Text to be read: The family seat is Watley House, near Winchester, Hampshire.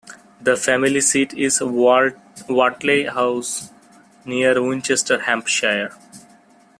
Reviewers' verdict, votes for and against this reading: accepted, 2, 0